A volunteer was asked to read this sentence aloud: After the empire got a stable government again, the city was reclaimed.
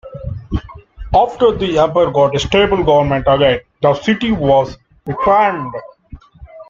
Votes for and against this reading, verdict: 0, 2, rejected